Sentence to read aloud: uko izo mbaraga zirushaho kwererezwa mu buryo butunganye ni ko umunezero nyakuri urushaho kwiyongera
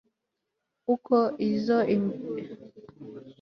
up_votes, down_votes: 1, 3